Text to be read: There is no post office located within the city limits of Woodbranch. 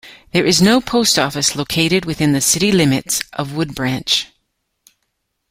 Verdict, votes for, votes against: accepted, 2, 0